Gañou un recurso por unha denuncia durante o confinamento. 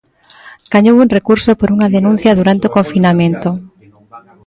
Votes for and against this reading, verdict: 2, 1, accepted